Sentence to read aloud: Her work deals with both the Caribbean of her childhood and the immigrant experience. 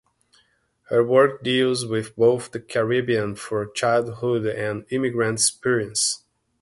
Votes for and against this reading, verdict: 1, 2, rejected